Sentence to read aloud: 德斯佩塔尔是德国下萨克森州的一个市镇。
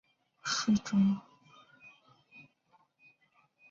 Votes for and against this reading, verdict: 0, 5, rejected